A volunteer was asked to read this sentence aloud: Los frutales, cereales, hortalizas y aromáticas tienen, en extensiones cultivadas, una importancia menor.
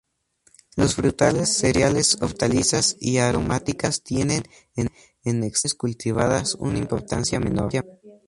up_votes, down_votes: 0, 2